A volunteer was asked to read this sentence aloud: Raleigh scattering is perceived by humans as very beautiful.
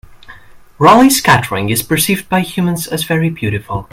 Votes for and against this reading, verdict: 2, 0, accepted